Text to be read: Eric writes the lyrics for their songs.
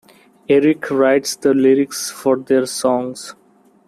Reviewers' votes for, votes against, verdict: 3, 0, accepted